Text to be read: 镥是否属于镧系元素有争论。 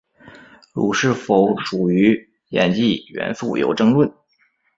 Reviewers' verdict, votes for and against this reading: accepted, 3, 0